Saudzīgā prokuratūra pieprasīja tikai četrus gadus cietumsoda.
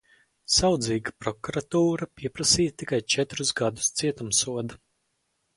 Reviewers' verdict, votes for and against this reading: rejected, 2, 4